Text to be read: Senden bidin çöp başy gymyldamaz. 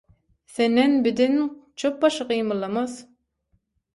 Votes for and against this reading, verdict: 0, 6, rejected